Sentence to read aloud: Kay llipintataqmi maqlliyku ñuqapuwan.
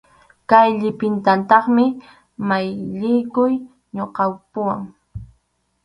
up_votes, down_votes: 2, 2